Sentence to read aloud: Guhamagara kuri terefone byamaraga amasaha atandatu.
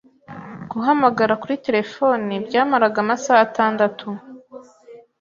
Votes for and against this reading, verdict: 2, 0, accepted